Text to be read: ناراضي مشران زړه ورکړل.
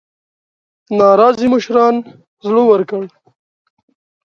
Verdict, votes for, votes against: accepted, 2, 0